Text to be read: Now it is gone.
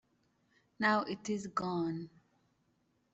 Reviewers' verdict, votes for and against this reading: accepted, 2, 0